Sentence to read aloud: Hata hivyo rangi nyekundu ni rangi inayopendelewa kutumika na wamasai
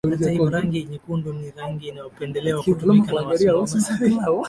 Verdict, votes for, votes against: rejected, 0, 2